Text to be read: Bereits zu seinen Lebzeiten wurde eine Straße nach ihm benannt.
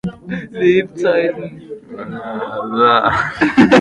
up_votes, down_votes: 0, 2